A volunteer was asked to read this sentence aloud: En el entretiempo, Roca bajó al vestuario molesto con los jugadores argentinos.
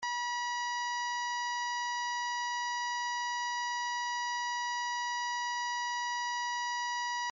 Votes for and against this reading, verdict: 0, 2, rejected